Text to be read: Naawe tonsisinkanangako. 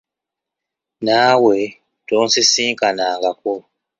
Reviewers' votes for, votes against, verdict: 1, 2, rejected